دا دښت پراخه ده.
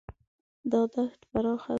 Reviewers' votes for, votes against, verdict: 0, 2, rejected